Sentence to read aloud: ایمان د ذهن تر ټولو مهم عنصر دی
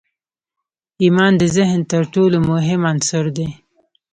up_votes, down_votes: 2, 0